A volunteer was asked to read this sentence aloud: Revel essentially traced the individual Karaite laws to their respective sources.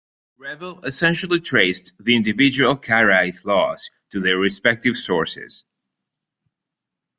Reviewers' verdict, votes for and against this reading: accepted, 2, 0